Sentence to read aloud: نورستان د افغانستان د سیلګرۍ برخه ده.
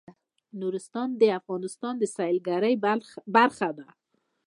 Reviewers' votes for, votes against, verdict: 2, 0, accepted